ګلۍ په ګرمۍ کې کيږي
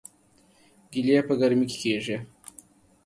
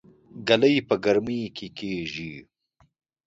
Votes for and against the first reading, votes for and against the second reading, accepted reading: 1, 2, 2, 0, second